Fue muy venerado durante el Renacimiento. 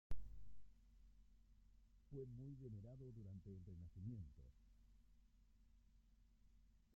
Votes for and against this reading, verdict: 1, 2, rejected